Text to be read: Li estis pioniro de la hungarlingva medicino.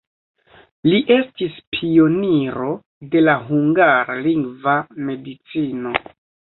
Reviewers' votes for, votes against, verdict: 2, 0, accepted